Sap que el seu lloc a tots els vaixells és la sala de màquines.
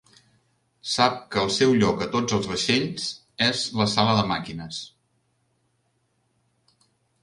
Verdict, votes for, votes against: accepted, 3, 0